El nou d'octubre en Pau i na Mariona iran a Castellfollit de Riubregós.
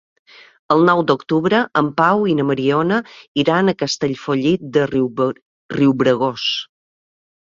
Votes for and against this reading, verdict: 0, 2, rejected